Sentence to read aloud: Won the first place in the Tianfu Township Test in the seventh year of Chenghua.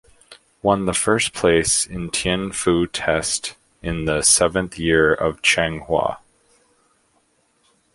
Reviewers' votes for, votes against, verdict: 0, 2, rejected